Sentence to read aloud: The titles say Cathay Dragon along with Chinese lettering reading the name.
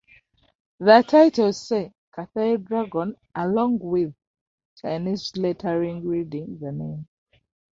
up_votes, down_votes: 0, 2